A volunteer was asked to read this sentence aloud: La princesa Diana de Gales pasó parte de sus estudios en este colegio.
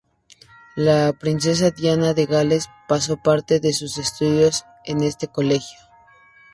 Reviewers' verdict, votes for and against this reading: accepted, 2, 0